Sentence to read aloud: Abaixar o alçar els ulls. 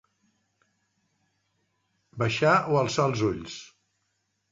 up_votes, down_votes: 1, 2